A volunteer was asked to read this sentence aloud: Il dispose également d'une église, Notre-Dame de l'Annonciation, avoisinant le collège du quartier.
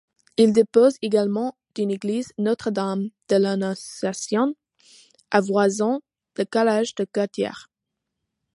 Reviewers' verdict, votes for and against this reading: rejected, 1, 2